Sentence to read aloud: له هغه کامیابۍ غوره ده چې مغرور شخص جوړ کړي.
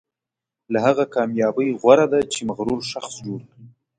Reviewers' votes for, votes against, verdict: 2, 0, accepted